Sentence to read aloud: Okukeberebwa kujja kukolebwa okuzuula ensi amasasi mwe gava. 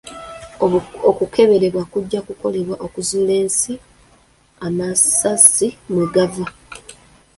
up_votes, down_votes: 2, 0